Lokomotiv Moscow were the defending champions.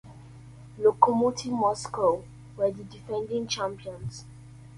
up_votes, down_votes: 1, 2